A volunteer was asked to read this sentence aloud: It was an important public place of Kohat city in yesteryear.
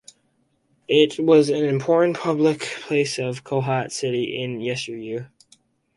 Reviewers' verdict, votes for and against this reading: accepted, 2, 0